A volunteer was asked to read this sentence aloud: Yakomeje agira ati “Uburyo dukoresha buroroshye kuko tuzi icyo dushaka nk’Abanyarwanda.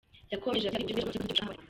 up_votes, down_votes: 0, 2